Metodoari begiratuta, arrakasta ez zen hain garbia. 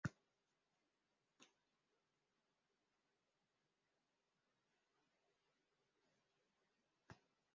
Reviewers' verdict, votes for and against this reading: rejected, 0, 2